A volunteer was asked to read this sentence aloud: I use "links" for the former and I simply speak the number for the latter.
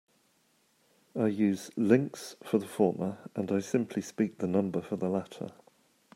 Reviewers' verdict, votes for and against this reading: accepted, 2, 0